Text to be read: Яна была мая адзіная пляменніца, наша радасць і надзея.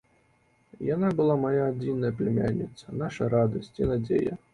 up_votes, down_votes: 1, 2